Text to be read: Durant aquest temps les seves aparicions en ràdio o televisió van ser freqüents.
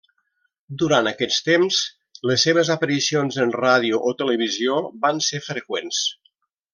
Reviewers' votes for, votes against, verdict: 0, 2, rejected